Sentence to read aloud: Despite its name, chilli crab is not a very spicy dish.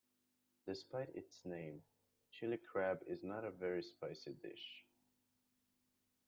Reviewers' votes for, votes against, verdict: 1, 2, rejected